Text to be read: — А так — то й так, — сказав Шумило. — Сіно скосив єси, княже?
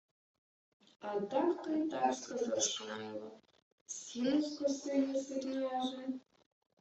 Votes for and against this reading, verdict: 0, 2, rejected